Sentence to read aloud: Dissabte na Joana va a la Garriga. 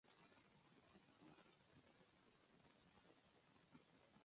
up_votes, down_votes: 1, 3